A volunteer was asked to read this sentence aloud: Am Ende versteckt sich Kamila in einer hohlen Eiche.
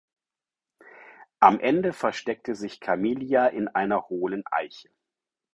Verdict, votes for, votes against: rejected, 2, 4